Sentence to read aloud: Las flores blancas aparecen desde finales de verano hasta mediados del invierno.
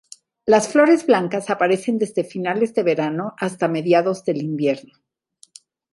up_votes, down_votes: 2, 0